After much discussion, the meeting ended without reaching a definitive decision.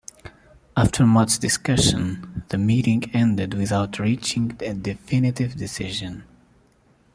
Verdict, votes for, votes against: accepted, 2, 0